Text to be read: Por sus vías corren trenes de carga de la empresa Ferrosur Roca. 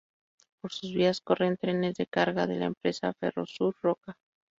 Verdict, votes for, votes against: rejected, 2, 2